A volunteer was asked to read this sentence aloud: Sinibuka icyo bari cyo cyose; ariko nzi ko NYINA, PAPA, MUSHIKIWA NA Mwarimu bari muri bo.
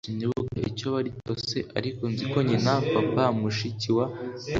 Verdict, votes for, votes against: accepted, 2, 1